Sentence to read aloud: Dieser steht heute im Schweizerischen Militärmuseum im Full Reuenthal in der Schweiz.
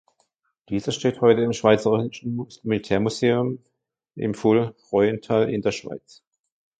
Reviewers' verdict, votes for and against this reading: rejected, 0, 2